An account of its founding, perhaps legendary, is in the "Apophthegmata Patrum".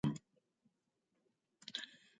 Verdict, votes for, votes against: rejected, 0, 2